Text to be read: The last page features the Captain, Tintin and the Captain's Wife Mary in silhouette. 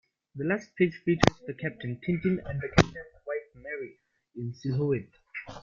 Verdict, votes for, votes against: rejected, 0, 2